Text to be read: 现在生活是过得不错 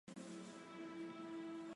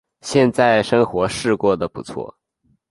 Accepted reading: second